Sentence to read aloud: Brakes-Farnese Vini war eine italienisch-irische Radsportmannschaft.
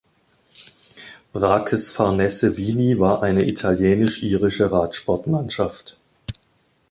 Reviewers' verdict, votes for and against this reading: rejected, 1, 2